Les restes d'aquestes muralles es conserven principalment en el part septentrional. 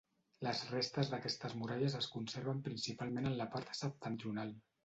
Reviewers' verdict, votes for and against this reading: rejected, 0, 2